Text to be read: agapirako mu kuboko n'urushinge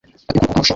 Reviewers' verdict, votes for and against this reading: rejected, 1, 2